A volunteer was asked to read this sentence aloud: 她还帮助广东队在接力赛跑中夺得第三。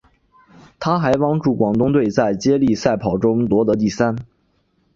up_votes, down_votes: 3, 0